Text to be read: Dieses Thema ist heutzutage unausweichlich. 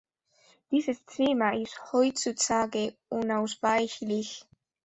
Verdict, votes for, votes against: accepted, 2, 0